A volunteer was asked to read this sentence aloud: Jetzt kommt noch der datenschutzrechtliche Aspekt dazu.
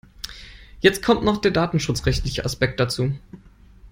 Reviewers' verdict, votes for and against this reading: accepted, 2, 0